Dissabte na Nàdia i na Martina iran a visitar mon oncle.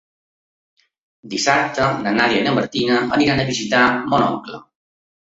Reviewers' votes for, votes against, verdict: 1, 2, rejected